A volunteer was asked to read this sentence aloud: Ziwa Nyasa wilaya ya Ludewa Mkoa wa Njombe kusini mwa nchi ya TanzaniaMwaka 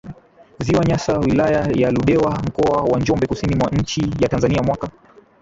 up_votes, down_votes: 2, 0